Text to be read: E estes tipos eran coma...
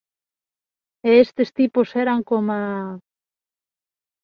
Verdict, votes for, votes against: accepted, 2, 0